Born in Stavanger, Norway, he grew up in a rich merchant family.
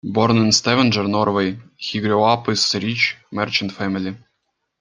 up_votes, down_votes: 0, 2